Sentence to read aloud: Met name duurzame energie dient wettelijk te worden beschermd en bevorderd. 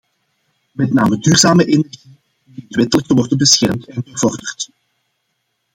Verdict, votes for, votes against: rejected, 0, 2